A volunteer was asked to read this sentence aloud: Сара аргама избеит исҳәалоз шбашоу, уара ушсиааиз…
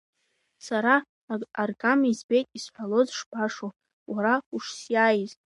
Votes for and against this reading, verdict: 2, 1, accepted